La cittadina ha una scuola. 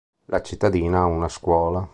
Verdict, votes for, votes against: accepted, 2, 0